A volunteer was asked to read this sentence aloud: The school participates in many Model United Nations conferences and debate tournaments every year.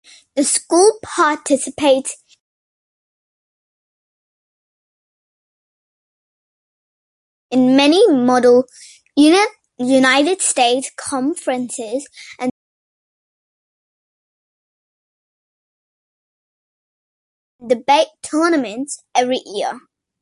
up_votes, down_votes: 0, 2